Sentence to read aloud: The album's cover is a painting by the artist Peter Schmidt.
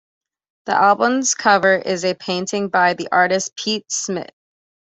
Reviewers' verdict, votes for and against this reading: accepted, 2, 0